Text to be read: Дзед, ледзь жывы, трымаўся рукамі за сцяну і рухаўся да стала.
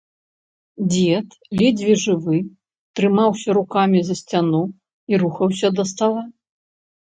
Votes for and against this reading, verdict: 0, 2, rejected